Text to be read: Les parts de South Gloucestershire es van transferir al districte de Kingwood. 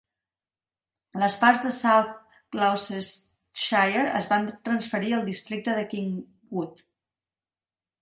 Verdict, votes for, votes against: accepted, 4, 2